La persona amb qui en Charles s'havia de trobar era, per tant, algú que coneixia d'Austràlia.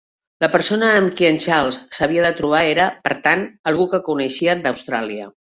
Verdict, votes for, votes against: accepted, 2, 0